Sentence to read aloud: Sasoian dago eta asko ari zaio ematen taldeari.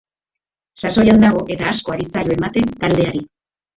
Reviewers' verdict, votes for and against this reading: accepted, 3, 1